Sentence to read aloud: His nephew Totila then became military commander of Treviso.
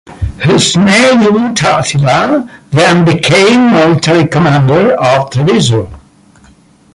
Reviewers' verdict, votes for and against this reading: rejected, 0, 2